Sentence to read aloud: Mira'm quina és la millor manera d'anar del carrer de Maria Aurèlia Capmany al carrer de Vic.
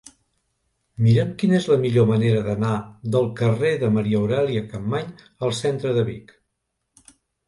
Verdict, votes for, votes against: rejected, 1, 3